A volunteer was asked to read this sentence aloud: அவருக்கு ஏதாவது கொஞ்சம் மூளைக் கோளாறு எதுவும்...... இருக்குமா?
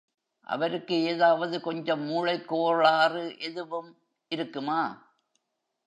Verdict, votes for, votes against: rejected, 0, 2